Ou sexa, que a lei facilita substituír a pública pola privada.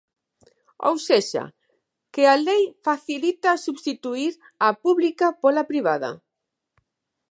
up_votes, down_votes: 2, 0